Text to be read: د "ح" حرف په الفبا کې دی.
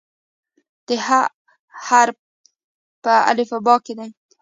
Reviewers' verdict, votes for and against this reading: accepted, 2, 0